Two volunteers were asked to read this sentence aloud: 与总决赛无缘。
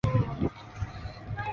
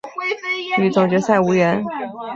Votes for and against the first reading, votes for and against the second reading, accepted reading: 0, 2, 3, 0, second